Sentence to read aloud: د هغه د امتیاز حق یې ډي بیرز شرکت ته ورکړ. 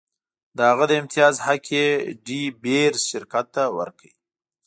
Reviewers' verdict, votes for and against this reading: accepted, 2, 0